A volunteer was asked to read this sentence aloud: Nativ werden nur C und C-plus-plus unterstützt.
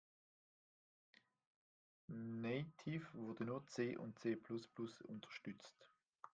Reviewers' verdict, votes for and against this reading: rejected, 0, 2